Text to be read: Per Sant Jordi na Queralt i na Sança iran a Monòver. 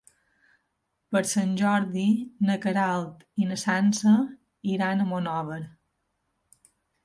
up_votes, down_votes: 4, 0